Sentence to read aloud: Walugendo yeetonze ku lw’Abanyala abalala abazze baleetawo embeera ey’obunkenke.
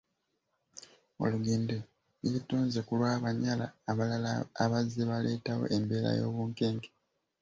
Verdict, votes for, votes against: rejected, 1, 2